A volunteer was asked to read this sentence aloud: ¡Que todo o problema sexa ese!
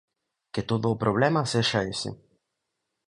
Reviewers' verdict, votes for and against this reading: accepted, 2, 0